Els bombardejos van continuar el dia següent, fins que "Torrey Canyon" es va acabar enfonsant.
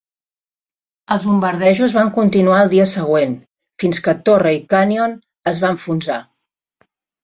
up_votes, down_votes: 0, 2